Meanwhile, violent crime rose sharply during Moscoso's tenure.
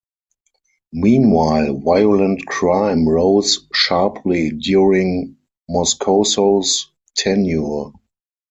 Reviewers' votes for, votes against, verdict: 4, 0, accepted